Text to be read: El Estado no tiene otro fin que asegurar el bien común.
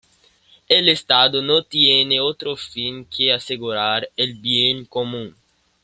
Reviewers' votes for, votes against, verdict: 2, 0, accepted